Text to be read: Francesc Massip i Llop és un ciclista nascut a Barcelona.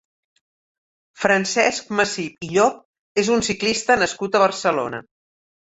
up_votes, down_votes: 2, 0